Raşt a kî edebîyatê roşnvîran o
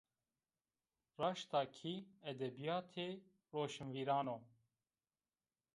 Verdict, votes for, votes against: rejected, 1, 2